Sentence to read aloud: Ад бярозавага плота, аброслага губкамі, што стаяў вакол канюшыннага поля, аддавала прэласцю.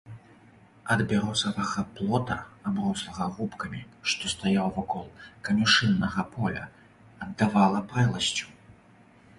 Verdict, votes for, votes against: accepted, 2, 0